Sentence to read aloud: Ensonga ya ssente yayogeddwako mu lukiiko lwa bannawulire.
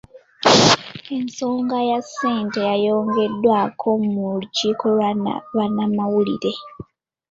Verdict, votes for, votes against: rejected, 0, 2